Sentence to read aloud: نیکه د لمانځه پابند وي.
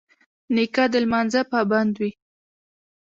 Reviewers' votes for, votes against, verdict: 0, 2, rejected